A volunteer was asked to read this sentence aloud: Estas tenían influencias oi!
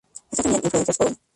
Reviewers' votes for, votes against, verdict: 0, 2, rejected